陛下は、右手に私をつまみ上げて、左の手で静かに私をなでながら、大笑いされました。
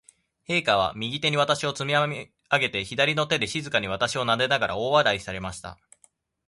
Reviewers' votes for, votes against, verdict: 1, 2, rejected